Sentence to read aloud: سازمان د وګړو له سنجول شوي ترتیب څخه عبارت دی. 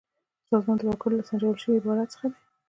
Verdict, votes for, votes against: accepted, 2, 1